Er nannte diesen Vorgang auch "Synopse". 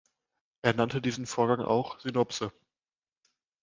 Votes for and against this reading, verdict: 2, 0, accepted